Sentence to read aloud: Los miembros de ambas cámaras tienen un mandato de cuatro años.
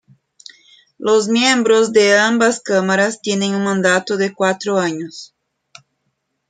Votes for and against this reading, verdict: 2, 1, accepted